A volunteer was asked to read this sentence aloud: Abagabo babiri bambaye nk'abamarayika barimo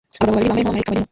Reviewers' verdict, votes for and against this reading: rejected, 0, 2